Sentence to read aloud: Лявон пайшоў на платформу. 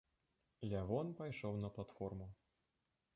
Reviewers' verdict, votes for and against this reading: rejected, 0, 2